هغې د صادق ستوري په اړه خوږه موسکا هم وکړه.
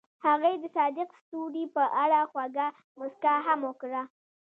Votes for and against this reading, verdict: 2, 0, accepted